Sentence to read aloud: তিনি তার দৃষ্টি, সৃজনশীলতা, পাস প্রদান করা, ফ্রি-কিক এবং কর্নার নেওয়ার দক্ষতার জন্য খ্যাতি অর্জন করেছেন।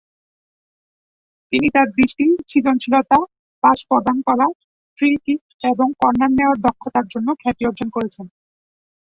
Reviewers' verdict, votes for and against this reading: rejected, 0, 2